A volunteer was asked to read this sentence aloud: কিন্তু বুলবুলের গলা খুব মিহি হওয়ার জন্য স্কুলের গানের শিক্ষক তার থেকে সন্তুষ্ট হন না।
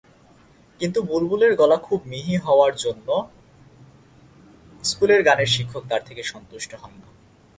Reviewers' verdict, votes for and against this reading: rejected, 1, 2